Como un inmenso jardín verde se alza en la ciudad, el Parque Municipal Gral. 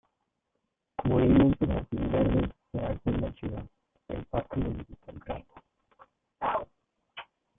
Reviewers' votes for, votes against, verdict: 0, 2, rejected